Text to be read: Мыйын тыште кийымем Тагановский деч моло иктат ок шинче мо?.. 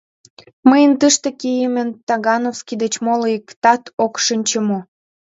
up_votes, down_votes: 2, 0